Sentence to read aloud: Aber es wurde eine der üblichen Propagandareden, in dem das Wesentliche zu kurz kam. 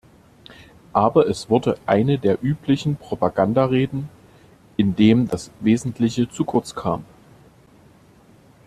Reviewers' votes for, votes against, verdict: 2, 0, accepted